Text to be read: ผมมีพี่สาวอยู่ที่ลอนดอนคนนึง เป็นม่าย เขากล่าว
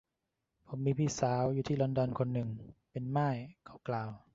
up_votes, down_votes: 0, 2